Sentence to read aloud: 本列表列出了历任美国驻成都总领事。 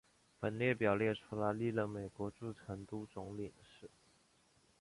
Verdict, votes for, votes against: rejected, 0, 2